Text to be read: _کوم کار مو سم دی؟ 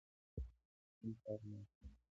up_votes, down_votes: 1, 2